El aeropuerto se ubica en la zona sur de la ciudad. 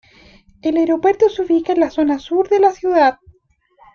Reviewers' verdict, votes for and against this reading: accepted, 4, 0